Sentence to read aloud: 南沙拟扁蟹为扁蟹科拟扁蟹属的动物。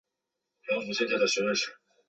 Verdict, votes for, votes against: rejected, 0, 2